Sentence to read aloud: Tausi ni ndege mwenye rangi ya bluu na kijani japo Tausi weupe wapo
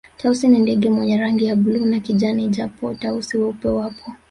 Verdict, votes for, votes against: accepted, 3, 0